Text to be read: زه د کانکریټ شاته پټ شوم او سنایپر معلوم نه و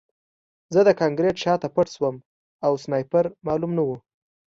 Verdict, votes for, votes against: accepted, 2, 0